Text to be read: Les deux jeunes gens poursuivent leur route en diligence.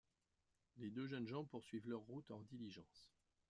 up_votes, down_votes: 1, 2